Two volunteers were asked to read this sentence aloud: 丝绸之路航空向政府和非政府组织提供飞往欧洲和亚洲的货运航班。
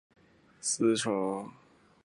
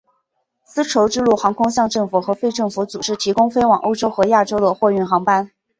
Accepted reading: second